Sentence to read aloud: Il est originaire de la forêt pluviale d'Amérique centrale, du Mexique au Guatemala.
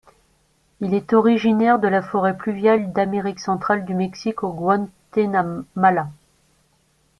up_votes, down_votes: 0, 2